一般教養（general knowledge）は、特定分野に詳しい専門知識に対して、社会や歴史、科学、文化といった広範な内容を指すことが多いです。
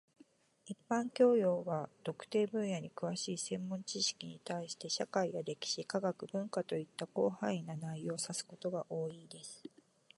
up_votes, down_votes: 2, 0